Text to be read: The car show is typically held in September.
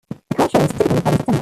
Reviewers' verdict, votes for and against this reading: rejected, 0, 2